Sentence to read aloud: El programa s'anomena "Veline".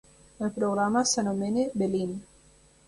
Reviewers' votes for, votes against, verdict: 1, 2, rejected